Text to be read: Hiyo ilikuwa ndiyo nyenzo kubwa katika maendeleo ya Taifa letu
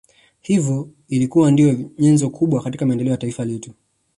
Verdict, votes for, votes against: rejected, 1, 3